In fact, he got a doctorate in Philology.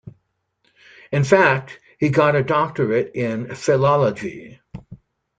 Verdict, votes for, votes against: accepted, 2, 0